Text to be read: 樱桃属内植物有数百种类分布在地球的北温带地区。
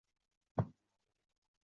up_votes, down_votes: 1, 2